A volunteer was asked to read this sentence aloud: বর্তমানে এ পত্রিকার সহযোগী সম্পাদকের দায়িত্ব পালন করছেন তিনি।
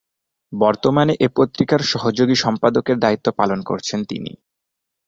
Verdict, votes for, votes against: accepted, 3, 0